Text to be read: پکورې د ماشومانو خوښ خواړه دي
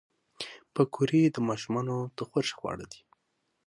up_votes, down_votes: 3, 6